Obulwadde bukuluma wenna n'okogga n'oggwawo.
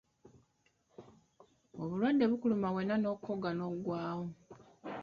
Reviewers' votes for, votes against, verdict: 2, 0, accepted